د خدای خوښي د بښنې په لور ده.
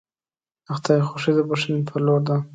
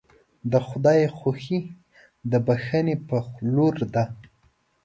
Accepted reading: second